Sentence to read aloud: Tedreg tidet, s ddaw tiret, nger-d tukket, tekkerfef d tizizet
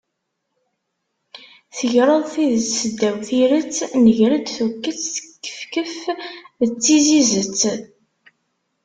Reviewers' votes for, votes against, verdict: 0, 2, rejected